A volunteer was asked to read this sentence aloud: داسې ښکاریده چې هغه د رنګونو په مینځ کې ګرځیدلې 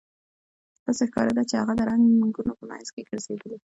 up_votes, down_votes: 2, 0